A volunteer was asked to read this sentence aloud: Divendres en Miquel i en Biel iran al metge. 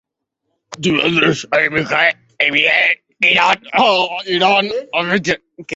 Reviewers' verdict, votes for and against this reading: rejected, 0, 2